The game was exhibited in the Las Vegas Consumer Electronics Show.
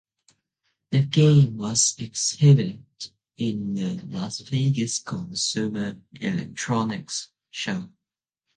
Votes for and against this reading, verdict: 1, 2, rejected